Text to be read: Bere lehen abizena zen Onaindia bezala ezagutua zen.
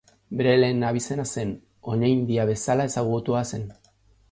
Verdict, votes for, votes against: accepted, 2, 0